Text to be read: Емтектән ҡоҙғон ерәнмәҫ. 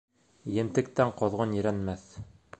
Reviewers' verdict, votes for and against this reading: accepted, 2, 0